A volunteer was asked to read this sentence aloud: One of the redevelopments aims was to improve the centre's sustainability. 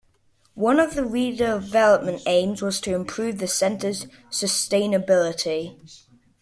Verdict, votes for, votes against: rejected, 1, 2